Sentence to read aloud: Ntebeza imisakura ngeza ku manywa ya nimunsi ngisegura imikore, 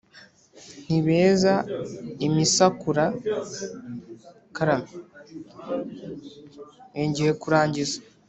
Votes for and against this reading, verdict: 1, 2, rejected